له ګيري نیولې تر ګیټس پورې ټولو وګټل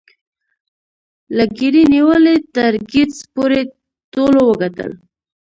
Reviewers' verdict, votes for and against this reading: rejected, 0, 2